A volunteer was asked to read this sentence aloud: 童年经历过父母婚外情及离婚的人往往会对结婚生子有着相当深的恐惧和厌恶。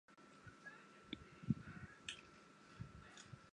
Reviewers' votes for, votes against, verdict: 5, 3, accepted